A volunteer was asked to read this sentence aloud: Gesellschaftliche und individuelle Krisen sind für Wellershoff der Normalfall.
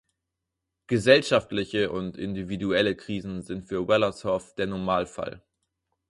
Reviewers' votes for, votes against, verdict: 6, 0, accepted